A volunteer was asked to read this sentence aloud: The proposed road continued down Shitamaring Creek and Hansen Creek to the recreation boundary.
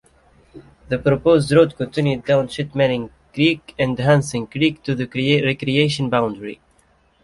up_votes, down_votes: 1, 2